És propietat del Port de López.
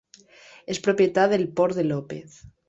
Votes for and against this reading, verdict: 3, 1, accepted